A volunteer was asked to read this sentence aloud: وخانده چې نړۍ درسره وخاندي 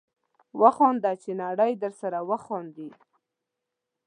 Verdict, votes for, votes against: accepted, 2, 0